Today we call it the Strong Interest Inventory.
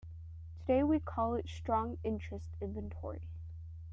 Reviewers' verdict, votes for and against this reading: accepted, 2, 1